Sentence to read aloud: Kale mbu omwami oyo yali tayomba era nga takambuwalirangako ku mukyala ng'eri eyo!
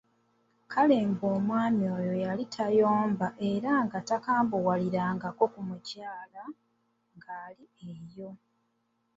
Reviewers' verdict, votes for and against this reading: rejected, 1, 2